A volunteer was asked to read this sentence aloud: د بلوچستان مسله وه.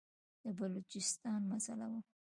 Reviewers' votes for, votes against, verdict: 2, 0, accepted